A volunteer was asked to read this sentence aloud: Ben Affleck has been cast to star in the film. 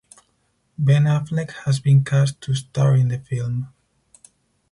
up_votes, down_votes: 4, 0